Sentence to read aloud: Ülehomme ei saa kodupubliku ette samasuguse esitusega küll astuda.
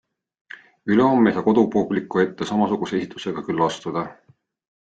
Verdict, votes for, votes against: accepted, 2, 0